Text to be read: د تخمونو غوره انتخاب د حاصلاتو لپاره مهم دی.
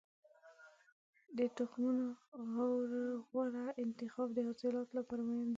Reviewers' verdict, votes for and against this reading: rejected, 1, 2